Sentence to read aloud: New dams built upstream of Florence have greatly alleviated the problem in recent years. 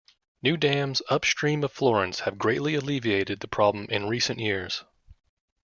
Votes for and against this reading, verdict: 0, 3, rejected